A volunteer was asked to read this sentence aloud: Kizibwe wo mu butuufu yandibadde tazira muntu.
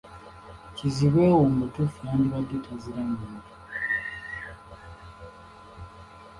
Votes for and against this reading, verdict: 1, 2, rejected